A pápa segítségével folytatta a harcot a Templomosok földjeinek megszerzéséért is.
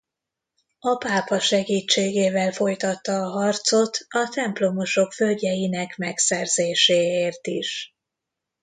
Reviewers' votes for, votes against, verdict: 2, 1, accepted